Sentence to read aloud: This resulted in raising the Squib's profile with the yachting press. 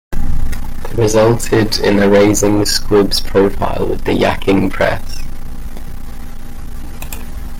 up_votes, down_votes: 0, 2